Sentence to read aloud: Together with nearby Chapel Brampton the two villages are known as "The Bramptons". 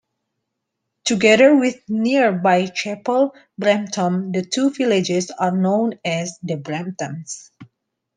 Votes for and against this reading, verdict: 2, 0, accepted